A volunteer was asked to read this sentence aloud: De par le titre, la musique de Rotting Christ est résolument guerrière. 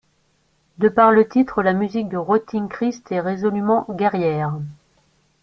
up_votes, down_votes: 2, 0